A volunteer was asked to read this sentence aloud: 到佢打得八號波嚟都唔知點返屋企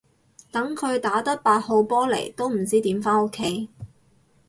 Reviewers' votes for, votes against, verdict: 0, 4, rejected